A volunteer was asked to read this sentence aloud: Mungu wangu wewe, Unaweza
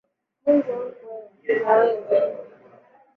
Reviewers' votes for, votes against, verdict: 1, 2, rejected